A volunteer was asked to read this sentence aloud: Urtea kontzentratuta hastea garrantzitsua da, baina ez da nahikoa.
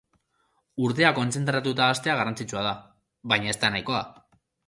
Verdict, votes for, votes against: accepted, 2, 0